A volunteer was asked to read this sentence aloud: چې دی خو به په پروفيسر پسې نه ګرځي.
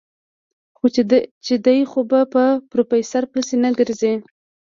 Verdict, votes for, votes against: rejected, 1, 2